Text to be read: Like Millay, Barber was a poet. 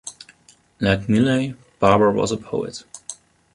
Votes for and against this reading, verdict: 2, 1, accepted